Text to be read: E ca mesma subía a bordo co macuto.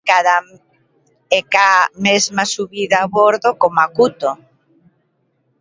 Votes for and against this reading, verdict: 0, 2, rejected